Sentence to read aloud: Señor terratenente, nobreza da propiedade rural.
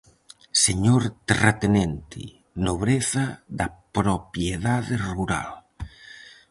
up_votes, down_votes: 2, 2